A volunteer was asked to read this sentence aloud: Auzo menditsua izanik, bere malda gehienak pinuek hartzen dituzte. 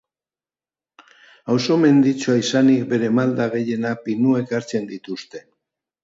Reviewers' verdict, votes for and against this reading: accepted, 2, 0